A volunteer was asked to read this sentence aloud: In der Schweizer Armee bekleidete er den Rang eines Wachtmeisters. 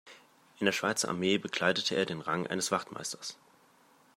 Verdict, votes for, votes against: accepted, 2, 0